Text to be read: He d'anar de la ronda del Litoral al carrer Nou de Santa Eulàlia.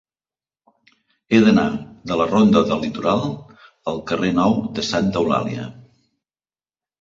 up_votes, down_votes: 2, 0